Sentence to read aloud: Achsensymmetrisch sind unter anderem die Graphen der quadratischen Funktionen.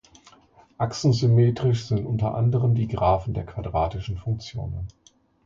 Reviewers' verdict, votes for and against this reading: accepted, 2, 0